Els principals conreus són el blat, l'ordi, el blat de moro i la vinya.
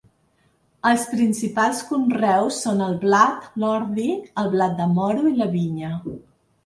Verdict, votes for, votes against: rejected, 1, 2